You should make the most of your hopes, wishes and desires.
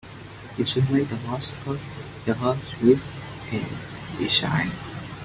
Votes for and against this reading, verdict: 0, 2, rejected